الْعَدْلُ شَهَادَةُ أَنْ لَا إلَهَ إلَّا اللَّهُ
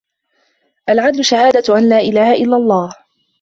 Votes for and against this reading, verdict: 2, 0, accepted